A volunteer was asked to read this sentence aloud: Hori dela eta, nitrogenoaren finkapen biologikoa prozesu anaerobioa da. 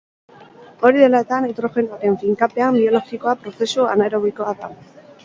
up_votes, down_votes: 2, 4